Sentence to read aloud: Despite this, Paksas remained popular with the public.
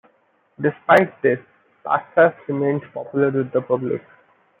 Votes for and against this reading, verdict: 2, 0, accepted